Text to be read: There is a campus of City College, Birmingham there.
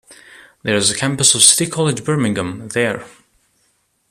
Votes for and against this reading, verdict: 1, 2, rejected